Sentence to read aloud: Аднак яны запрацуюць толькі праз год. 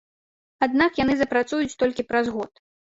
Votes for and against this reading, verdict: 2, 0, accepted